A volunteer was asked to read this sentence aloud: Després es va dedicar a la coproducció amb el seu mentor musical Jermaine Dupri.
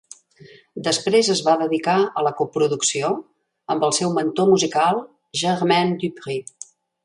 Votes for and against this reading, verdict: 1, 2, rejected